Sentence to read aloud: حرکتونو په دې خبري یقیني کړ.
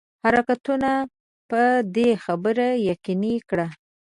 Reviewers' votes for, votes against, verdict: 1, 2, rejected